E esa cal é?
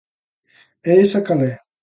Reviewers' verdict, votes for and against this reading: accepted, 2, 0